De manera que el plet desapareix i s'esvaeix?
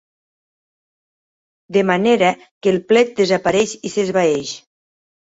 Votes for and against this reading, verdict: 0, 2, rejected